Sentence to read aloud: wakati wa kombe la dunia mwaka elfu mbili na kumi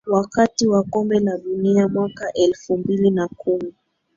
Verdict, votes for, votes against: accepted, 2, 1